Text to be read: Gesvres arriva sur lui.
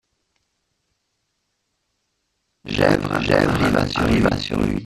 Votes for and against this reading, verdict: 0, 2, rejected